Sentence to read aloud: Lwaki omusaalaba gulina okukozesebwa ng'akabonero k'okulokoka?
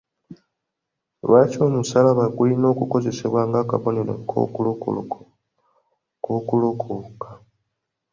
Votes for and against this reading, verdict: 1, 2, rejected